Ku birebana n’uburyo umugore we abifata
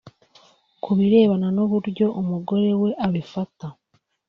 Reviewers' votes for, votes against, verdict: 1, 2, rejected